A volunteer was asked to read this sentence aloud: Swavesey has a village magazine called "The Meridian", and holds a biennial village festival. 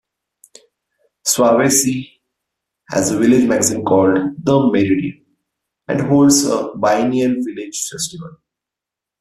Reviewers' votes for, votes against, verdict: 1, 2, rejected